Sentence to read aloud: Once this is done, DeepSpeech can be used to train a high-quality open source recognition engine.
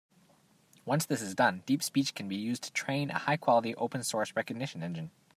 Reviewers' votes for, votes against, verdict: 2, 0, accepted